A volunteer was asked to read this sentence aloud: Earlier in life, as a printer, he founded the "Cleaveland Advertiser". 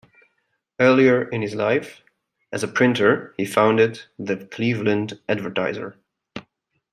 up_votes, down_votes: 1, 2